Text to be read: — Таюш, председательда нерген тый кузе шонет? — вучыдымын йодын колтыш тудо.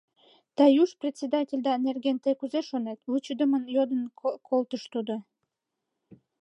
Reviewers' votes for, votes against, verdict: 1, 2, rejected